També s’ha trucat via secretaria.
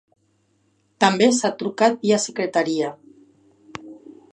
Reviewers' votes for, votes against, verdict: 4, 0, accepted